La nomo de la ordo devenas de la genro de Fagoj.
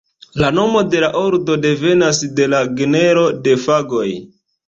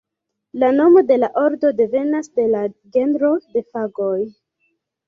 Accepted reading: second